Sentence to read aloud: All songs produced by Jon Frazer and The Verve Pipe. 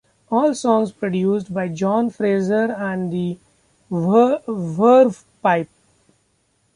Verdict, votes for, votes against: rejected, 0, 2